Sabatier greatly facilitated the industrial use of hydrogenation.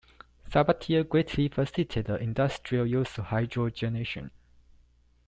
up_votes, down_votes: 1, 2